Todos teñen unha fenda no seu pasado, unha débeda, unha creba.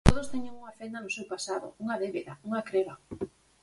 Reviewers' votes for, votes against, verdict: 4, 0, accepted